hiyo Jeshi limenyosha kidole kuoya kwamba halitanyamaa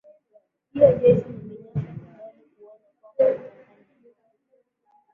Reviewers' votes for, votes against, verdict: 2, 5, rejected